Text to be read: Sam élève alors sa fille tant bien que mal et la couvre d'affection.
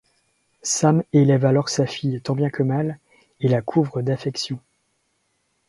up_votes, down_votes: 2, 0